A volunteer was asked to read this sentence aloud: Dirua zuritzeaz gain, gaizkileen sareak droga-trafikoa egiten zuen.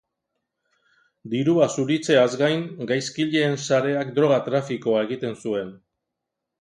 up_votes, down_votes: 2, 0